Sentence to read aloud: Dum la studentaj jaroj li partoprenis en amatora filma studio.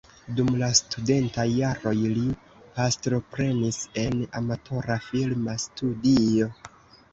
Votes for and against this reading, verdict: 0, 2, rejected